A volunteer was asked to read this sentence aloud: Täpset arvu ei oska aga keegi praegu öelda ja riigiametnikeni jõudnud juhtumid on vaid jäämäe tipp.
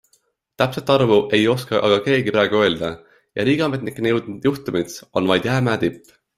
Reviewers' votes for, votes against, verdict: 2, 0, accepted